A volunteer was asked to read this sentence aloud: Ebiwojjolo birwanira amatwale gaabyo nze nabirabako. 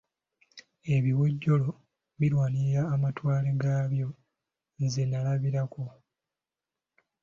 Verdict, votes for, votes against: rejected, 1, 2